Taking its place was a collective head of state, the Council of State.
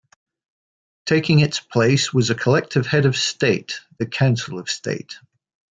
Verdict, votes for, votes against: accepted, 2, 0